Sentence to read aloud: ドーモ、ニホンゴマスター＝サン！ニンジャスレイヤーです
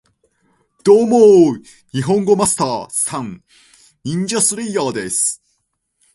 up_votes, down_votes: 4, 0